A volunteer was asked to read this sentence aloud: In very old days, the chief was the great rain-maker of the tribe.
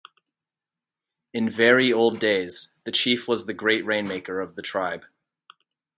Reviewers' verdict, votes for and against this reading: rejected, 2, 2